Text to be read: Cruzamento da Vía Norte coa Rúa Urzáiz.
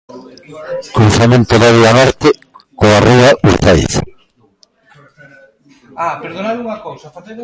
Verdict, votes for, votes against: rejected, 0, 2